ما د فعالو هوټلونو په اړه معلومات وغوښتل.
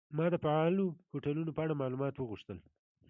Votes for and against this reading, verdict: 2, 0, accepted